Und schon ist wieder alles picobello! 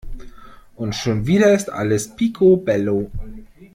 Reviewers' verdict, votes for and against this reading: rejected, 1, 2